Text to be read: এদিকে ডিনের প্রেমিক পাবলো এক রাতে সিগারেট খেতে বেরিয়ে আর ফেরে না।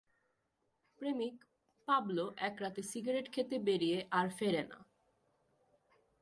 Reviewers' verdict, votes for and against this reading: rejected, 1, 2